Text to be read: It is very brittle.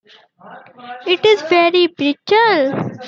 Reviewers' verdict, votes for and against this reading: accepted, 2, 0